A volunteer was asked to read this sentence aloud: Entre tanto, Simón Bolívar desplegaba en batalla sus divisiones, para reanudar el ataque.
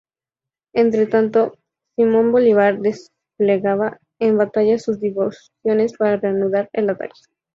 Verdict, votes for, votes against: rejected, 0, 2